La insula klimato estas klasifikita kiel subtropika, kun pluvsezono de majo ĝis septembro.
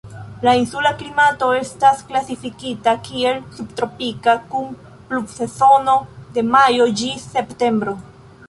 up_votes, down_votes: 0, 2